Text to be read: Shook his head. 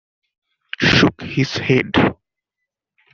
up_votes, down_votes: 2, 0